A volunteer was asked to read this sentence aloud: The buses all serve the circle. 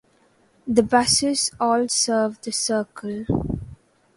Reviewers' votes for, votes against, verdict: 2, 0, accepted